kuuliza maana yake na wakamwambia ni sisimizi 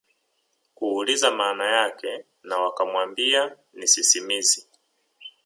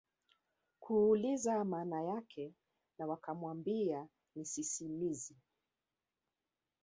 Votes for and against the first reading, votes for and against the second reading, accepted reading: 2, 1, 0, 2, first